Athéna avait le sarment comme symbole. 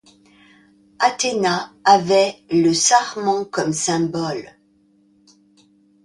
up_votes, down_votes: 2, 0